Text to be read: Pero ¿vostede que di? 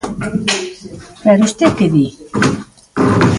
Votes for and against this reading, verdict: 0, 2, rejected